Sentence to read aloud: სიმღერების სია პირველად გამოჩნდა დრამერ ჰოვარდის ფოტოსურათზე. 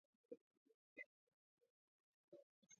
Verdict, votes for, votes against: rejected, 0, 2